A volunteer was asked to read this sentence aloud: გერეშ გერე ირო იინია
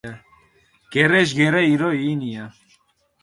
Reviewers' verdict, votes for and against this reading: rejected, 0, 4